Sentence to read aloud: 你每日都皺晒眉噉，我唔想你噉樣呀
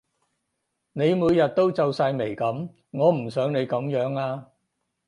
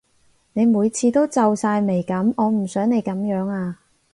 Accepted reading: first